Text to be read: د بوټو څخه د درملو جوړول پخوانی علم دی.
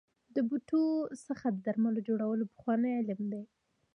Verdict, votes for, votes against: rejected, 1, 2